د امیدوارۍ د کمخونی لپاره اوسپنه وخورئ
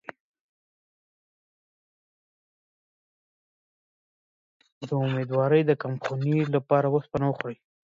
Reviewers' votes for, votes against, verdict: 0, 2, rejected